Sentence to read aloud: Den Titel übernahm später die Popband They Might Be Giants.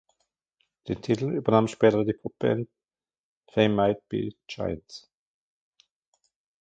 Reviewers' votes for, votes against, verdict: 2, 1, accepted